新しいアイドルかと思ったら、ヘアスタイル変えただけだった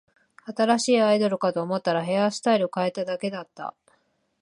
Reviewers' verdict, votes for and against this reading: accepted, 2, 0